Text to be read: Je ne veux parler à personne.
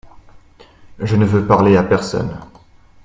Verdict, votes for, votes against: accepted, 2, 0